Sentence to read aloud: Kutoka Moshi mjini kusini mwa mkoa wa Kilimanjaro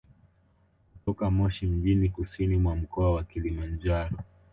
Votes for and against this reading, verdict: 3, 1, accepted